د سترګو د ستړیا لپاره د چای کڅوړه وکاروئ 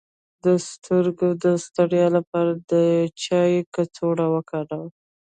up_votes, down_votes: 1, 2